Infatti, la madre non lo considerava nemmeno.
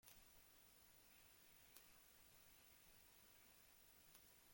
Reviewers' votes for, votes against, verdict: 0, 2, rejected